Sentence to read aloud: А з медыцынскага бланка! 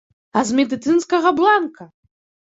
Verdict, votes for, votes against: rejected, 1, 2